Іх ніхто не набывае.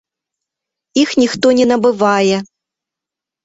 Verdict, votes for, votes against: accepted, 2, 0